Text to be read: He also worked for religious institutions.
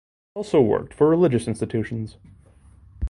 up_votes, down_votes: 1, 2